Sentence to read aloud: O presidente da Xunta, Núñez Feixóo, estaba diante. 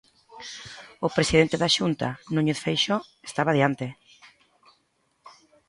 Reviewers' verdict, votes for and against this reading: accepted, 2, 0